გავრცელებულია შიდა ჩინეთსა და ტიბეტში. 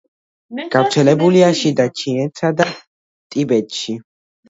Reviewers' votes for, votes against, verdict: 2, 0, accepted